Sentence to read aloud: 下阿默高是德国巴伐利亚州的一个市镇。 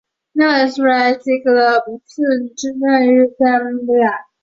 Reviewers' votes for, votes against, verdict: 0, 3, rejected